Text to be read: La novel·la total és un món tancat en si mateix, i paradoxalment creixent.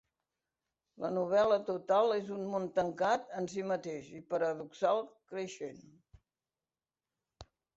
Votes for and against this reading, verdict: 1, 2, rejected